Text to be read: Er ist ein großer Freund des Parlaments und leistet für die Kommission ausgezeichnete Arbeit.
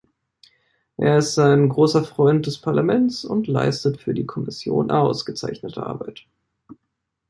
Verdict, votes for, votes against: accepted, 2, 0